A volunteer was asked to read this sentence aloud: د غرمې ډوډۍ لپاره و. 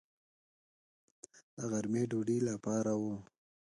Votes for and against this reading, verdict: 0, 2, rejected